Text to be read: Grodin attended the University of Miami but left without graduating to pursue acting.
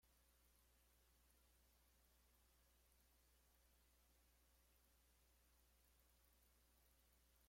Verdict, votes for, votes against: rejected, 0, 2